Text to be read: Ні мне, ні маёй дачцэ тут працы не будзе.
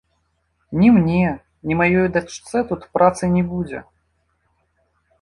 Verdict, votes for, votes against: rejected, 1, 2